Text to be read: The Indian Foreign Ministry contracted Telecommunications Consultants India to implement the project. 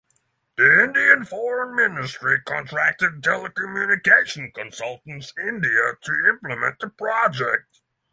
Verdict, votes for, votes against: rejected, 0, 6